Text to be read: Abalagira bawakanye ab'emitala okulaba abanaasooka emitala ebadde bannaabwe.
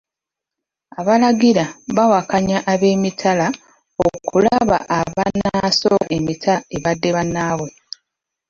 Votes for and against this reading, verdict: 1, 2, rejected